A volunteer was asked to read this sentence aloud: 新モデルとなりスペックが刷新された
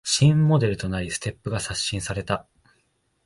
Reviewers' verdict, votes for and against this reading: rejected, 0, 3